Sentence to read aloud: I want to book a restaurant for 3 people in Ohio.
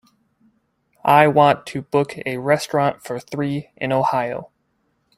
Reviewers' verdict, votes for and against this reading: rejected, 0, 2